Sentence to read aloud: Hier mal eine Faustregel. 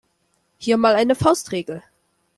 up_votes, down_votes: 2, 0